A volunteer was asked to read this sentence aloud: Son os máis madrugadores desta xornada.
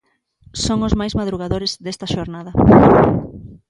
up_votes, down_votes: 2, 0